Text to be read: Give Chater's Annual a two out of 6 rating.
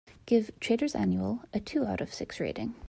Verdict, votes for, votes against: rejected, 0, 2